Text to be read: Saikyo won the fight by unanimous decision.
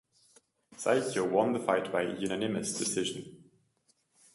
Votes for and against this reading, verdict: 2, 0, accepted